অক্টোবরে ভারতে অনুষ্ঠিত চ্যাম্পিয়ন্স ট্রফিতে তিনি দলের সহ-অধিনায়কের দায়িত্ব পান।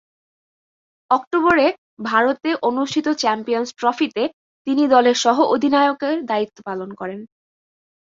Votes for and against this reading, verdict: 1, 2, rejected